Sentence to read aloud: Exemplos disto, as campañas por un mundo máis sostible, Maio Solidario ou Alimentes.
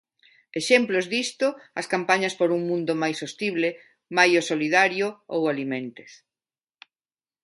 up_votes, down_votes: 2, 0